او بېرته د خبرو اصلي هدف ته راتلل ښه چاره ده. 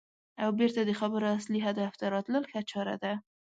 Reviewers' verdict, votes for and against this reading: accepted, 4, 0